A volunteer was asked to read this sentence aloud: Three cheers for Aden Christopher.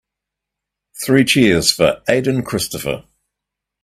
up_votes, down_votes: 2, 0